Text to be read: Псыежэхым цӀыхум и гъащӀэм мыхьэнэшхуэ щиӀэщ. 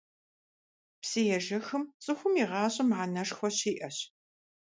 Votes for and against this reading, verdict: 2, 0, accepted